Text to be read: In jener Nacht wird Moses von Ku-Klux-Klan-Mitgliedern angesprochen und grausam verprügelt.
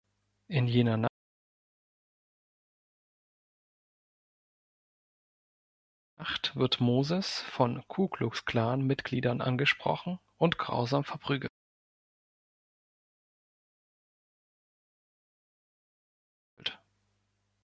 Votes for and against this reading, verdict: 1, 2, rejected